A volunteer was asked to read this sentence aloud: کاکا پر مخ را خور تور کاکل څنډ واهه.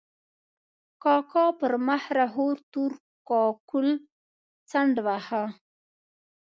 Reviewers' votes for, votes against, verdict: 2, 0, accepted